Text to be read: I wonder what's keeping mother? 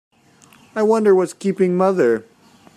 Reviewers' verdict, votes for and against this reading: accepted, 2, 0